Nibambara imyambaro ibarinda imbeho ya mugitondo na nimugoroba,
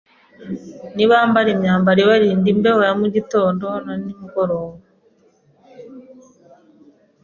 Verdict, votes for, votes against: accepted, 2, 0